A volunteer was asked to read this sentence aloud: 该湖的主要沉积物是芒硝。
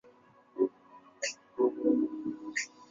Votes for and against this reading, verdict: 0, 2, rejected